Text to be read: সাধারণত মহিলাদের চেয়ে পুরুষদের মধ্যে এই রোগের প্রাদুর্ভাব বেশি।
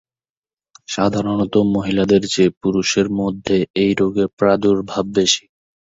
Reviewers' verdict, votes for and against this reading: rejected, 1, 2